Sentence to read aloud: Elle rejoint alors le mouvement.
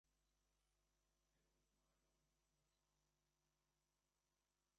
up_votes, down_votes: 0, 2